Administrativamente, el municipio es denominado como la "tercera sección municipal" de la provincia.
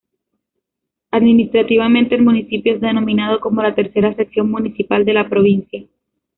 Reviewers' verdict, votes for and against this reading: rejected, 0, 2